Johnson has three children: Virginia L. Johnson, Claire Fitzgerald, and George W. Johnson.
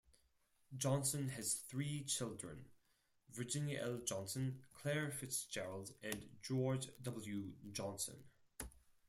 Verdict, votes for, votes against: accepted, 4, 0